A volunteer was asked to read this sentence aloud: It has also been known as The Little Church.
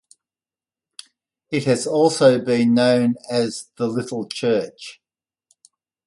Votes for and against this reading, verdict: 2, 0, accepted